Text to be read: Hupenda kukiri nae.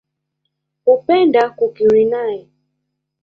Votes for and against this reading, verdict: 2, 1, accepted